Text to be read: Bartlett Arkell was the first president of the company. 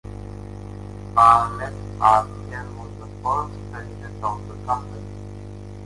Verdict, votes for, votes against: accepted, 2, 1